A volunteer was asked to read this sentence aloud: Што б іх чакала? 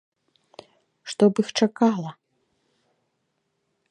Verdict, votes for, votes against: accepted, 2, 0